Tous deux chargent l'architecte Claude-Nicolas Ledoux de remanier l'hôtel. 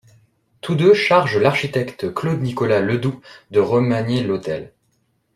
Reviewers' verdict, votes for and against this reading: accepted, 2, 0